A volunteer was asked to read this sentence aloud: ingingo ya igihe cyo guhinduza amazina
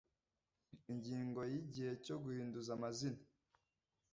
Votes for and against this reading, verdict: 2, 0, accepted